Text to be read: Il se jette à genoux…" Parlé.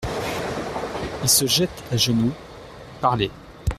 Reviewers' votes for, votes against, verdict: 2, 0, accepted